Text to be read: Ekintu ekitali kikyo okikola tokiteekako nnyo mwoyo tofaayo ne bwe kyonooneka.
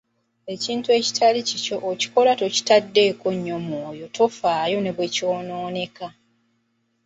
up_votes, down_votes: 2, 0